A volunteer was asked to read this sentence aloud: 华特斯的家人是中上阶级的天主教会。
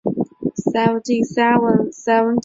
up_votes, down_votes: 0, 6